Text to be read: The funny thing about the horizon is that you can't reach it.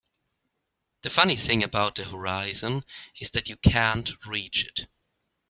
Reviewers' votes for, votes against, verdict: 2, 0, accepted